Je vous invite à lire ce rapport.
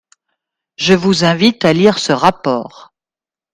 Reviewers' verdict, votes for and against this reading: accepted, 2, 0